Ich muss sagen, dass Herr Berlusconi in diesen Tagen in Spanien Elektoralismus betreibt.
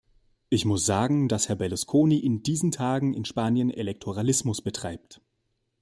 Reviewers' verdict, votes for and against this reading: accepted, 2, 0